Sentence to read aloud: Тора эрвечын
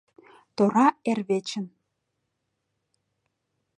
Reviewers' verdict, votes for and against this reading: accepted, 2, 0